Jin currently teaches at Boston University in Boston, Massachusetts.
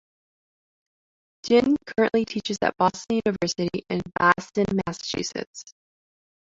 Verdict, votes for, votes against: accepted, 2, 1